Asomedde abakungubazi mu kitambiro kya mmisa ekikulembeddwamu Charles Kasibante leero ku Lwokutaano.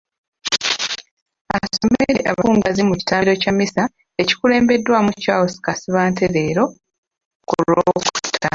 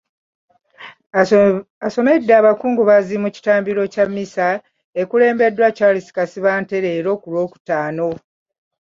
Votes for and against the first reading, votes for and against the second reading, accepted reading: 0, 2, 2, 1, second